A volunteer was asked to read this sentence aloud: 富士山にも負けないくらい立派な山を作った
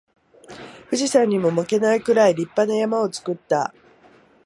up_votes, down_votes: 2, 0